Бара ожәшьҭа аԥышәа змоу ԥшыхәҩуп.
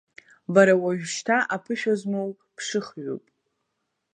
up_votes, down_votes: 0, 2